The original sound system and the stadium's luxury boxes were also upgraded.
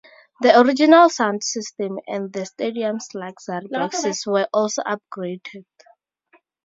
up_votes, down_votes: 0, 2